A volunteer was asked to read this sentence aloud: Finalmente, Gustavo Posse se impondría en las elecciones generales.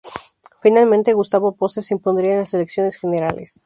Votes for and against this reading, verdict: 0, 2, rejected